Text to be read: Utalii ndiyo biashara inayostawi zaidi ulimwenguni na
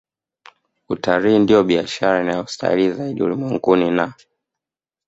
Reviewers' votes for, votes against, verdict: 1, 2, rejected